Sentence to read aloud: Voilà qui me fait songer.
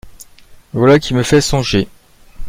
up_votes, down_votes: 2, 0